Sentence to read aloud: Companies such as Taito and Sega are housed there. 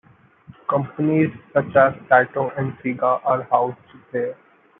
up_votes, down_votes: 2, 0